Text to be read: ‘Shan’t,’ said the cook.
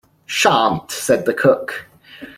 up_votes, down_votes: 2, 0